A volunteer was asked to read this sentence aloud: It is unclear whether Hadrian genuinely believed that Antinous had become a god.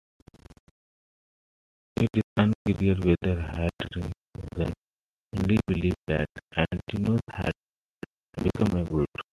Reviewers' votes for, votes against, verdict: 0, 2, rejected